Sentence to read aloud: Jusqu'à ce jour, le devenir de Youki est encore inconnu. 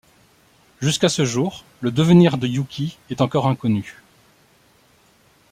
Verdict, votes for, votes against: accepted, 2, 0